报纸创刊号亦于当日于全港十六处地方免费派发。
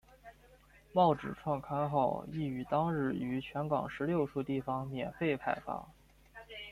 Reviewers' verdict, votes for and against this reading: rejected, 1, 2